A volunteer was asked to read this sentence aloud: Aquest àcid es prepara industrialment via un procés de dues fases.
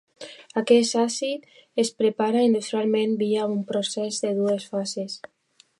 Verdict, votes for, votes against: rejected, 0, 2